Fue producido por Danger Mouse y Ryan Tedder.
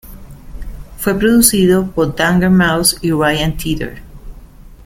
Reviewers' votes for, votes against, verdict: 2, 0, accepted